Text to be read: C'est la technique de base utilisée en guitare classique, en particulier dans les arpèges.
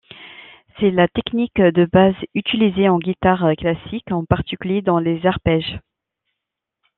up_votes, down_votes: 2, 0